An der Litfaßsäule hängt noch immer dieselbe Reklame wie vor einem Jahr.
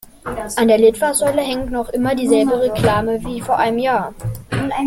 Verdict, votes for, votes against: rejected, 0, 2